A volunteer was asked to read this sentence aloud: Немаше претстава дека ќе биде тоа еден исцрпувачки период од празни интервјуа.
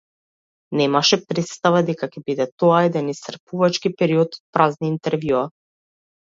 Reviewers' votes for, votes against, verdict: 1, 2, rejected